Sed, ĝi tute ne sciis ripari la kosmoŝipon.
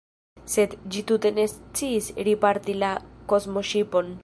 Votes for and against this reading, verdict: 0, 2, rejected